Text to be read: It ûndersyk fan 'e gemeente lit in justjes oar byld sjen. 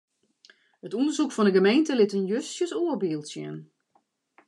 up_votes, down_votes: 1, 2